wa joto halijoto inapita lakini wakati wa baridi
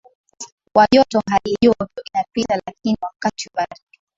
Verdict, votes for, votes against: rejected, 0, 2